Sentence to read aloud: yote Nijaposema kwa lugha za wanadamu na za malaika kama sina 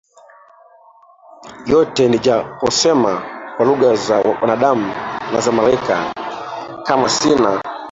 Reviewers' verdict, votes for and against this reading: rejected, 0, 3